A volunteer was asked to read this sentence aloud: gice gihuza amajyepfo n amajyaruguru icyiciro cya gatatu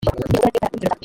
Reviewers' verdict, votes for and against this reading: rejected, 0, 2